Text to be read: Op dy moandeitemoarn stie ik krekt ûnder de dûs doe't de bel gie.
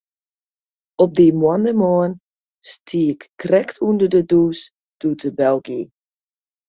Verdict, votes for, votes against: rejected, 1, 2